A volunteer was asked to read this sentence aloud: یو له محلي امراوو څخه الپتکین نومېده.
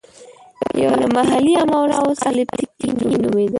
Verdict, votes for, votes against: rejected, 1, 2